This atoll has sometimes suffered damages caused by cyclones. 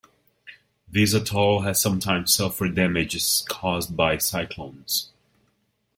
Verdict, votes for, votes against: rejected, 0, 2